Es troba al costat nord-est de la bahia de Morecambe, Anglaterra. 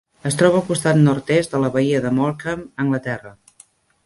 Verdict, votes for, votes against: accepted, 2, 0